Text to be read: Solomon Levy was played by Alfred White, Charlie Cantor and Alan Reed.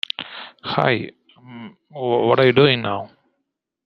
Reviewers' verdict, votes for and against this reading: rejected, 0, 2